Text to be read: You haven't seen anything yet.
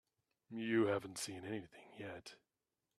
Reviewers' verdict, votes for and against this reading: accepted, 4, 0